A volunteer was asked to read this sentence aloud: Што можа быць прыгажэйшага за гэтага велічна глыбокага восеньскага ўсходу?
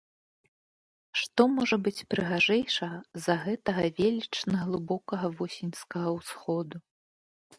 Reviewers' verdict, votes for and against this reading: accepted, 2, 0